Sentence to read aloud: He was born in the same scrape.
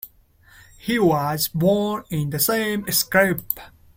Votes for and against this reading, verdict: 2, 0, accepted